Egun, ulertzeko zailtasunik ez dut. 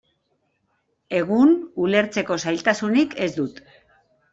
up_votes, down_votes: 2, 0